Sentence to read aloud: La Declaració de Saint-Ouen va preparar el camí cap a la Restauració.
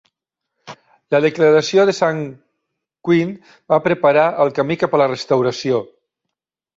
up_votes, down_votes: 0, 2